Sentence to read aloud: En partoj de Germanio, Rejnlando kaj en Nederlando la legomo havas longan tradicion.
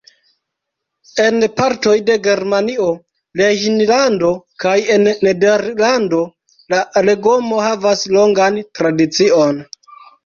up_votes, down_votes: 0, 2